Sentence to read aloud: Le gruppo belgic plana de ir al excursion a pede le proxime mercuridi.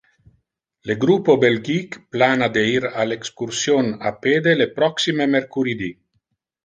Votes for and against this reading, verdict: 0, 2, rejected